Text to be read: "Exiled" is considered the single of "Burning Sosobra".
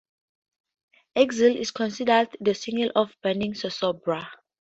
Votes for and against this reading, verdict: 2, 0, accepted